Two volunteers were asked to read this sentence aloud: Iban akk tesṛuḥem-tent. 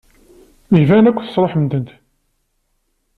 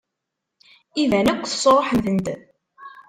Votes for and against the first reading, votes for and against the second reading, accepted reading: 2, 0, 1, 2, first